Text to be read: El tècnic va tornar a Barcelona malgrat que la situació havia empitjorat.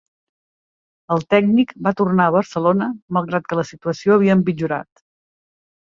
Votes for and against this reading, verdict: 2, 0, accepted